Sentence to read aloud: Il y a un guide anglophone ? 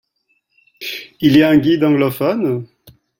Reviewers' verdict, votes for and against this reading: accepted, 2, 1